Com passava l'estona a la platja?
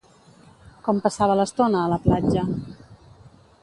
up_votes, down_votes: 2, 0